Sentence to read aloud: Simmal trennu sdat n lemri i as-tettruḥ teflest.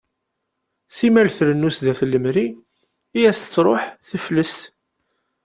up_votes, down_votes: 2, 0